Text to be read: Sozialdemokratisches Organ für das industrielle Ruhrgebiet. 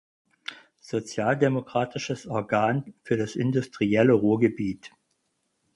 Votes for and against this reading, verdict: 4, 0, accepted